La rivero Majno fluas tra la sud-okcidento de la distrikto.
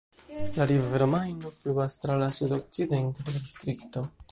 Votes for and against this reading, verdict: 1, 2, rejected